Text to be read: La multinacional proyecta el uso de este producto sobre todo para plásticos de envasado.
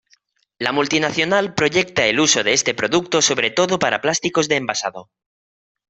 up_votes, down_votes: 2, 0